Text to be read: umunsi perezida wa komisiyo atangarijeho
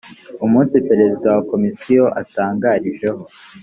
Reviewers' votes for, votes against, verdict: 3, 0, accepted